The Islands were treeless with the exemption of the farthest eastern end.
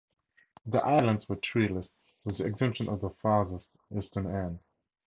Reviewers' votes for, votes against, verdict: 4, 0, accepted